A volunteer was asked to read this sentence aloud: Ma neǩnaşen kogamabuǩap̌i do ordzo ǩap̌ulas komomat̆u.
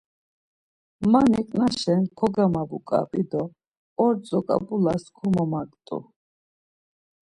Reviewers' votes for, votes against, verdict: 1, 2, rejected